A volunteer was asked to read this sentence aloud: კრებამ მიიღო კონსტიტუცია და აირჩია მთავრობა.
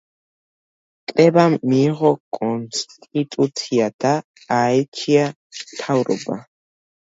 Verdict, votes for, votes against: rejected, 1, 2